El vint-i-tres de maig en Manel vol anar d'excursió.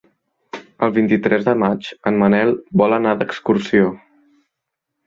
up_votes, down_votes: 3, 0